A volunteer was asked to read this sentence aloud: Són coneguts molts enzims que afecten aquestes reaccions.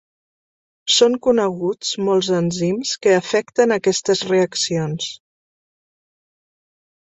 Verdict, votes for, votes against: accepted, 2, 0